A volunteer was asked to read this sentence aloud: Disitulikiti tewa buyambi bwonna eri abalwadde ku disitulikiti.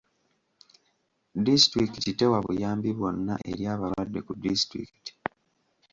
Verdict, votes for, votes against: accepted, 2, 0